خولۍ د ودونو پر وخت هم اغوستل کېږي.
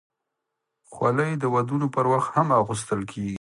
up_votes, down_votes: 2, 0